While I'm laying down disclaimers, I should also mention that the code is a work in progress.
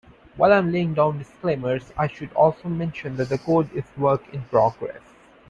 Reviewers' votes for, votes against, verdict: 0, 2, rejected